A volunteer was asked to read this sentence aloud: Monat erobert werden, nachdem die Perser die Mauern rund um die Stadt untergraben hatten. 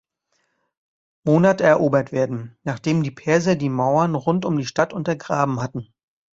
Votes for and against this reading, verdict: 2, 0, accepted